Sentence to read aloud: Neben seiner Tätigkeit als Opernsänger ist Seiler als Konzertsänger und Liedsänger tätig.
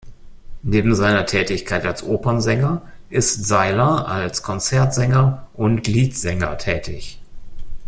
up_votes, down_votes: 2, 0